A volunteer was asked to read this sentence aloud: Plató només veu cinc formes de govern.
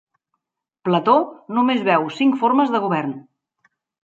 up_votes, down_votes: 3, 0